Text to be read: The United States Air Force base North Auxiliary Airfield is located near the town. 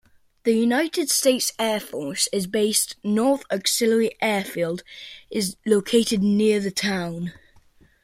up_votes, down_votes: 0, 2